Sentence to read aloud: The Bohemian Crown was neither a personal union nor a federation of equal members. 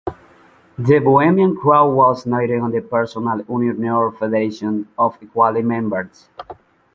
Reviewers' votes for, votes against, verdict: 1, 2, rejected